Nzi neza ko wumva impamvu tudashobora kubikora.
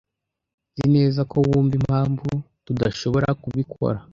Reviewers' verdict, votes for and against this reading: accepted, 2, 0